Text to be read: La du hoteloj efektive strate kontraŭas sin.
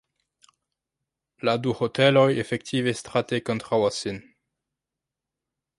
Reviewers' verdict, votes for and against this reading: rejected, 0, 2